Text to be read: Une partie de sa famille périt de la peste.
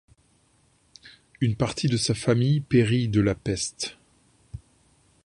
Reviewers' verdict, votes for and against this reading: accepted, 2, 0